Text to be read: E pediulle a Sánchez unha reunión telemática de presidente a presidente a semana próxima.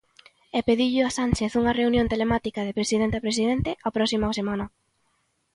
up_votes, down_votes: 0, 2